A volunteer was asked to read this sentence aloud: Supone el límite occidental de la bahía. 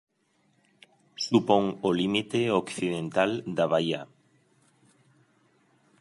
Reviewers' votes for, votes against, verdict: 0, 2, rejected